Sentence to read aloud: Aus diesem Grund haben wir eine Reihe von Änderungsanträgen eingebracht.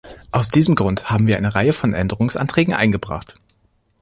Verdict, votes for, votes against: rejected, 1, 2